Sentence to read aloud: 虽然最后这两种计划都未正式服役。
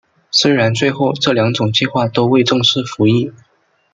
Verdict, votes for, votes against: accepted, 2, 0